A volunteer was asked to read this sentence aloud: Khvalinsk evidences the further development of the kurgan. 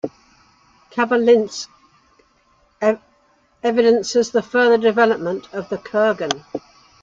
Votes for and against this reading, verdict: 0, 3, rejected